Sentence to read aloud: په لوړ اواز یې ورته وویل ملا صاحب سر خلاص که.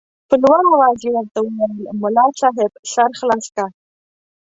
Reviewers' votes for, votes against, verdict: 3, 0, accepted